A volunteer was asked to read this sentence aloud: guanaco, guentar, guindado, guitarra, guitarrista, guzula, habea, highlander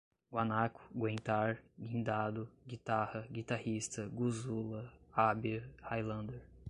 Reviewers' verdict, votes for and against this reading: accepted, 2, 0